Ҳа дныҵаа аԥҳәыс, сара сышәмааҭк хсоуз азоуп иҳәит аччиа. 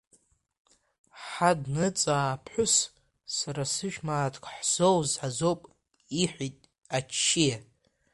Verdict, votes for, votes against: rejected, 0, 2